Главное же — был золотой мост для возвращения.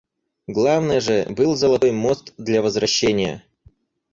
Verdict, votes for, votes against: accepted, 4, 0